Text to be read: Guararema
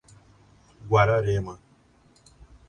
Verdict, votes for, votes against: accepted, 2, 0